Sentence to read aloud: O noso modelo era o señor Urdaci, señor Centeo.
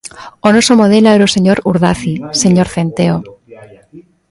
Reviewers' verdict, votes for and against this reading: rejected, 1, 2